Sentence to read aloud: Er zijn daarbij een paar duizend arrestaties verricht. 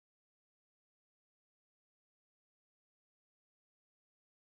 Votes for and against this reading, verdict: 0, 2, rejected